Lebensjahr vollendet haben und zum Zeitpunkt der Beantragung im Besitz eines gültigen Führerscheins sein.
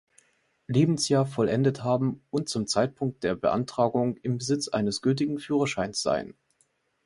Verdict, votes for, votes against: accepted, 2, 0